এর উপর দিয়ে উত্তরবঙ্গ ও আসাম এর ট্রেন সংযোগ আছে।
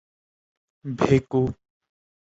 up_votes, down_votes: 1, 3